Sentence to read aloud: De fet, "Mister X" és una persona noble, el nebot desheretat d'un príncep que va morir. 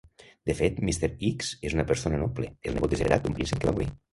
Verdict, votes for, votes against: rejected, 0, 2